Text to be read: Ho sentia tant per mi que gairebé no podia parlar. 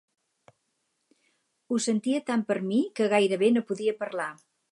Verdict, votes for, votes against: accepted, 6, 0